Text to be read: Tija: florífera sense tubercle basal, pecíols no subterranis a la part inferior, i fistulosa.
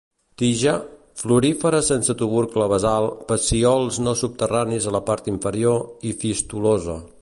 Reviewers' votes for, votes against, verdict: 1, 2, rejected